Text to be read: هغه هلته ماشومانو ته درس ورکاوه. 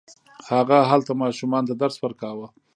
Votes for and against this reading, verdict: 1, 2, rejected